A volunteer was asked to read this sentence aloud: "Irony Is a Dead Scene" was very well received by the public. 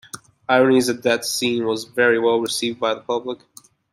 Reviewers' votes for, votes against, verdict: 2, 0, accepted